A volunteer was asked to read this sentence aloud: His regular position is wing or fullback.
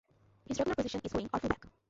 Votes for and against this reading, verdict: 0, 2, rejected